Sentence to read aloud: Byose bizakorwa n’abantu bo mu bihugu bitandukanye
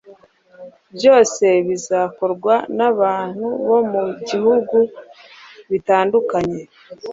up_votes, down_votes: 1, 2